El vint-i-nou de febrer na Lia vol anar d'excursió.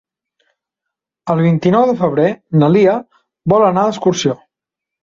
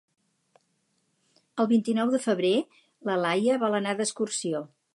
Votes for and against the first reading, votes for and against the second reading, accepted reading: 2, 0, 0, 2, first